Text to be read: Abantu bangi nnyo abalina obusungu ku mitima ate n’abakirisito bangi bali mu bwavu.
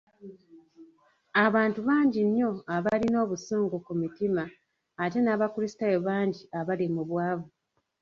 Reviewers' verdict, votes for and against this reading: rejected, 1, 2